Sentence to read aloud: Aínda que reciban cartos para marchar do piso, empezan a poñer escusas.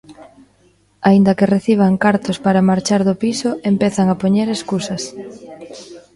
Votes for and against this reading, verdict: 1, 2, rejected